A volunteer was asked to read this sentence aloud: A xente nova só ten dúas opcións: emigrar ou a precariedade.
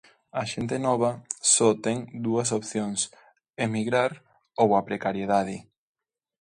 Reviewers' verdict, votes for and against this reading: accepted, 2, 0